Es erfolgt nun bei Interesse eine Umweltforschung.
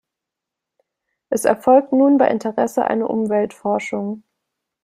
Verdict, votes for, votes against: accepted, 2, 0